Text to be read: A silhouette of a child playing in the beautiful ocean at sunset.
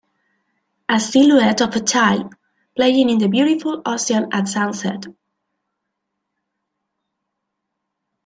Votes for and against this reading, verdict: 2, 0, accepted